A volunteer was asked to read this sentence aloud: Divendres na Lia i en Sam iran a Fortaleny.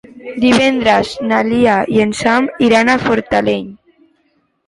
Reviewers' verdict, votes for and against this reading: accepted, 2, 0